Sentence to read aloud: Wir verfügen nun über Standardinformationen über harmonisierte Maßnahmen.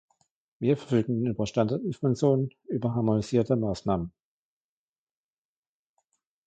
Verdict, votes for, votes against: rejected, 1, 2